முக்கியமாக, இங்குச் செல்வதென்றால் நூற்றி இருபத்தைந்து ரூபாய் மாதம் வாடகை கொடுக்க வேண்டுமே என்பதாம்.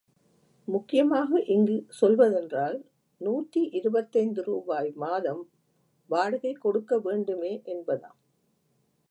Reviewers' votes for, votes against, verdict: 1, 2, rejected